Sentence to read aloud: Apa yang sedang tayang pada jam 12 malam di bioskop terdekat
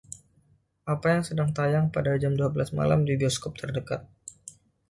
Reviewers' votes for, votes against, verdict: 0, 2, rejected